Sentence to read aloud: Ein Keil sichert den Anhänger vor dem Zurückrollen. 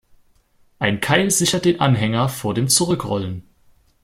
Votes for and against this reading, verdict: 2, 0, accepted